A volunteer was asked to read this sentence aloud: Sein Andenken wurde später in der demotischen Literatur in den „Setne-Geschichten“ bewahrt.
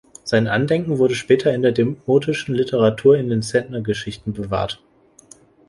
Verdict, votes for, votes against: rejected, 1, 2